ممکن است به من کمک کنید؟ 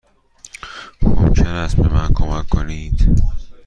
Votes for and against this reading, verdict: 2, 0, accepted